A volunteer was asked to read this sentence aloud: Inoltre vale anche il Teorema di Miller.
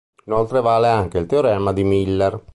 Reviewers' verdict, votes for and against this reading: accepted, 3, 1